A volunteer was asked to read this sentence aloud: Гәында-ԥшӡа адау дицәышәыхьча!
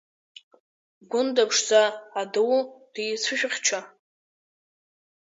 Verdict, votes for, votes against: rejected, 1, 2